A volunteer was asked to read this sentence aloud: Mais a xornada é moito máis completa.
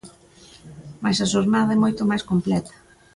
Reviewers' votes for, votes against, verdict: 2, 0, accepted